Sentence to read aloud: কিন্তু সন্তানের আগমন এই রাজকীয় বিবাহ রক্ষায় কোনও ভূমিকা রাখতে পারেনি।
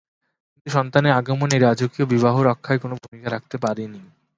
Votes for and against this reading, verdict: 0, 2, rejected